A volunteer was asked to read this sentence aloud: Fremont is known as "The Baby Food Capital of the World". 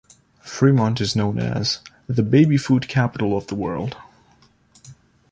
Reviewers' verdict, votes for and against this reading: accepted, 2, 0